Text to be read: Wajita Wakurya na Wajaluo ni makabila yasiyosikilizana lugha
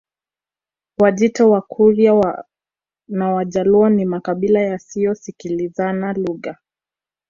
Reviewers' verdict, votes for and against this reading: accepted, 2, 0